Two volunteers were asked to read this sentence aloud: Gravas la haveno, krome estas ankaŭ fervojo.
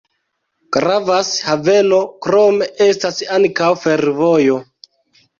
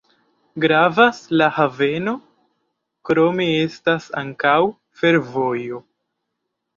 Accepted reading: second